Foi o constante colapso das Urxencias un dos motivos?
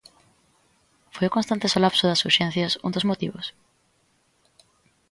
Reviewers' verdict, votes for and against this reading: rejected, 0, 2